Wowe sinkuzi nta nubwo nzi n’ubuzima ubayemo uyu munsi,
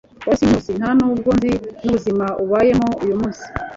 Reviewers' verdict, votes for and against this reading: rejected, 1, 2